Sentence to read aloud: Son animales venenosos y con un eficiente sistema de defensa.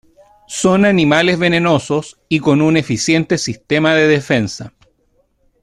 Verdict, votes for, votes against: accepted, 2, 1